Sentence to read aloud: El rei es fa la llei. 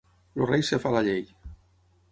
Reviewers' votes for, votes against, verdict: 3, 6, rejected